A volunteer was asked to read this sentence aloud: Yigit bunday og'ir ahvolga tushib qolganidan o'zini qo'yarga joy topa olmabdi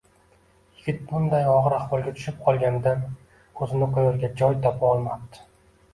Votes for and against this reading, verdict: 2, 0, accepted